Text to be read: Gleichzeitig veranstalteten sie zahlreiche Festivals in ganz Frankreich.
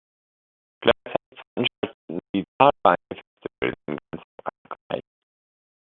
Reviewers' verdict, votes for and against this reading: rejected, 0, 2